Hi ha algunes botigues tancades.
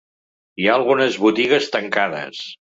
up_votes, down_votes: 3, 0